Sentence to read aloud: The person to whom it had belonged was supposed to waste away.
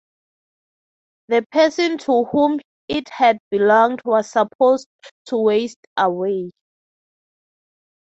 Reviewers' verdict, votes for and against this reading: accepted, 6, 3